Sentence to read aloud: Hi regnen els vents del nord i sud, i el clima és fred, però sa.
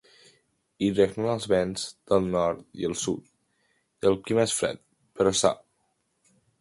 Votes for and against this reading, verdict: 1, 2, rejected